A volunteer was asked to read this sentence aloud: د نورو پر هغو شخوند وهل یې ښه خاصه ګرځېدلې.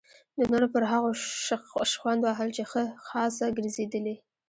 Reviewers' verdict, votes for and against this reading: rejected, 1, 2